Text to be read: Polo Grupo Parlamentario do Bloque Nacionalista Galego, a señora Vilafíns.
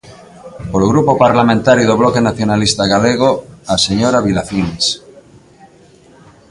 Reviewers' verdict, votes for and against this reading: rejected, 0, 2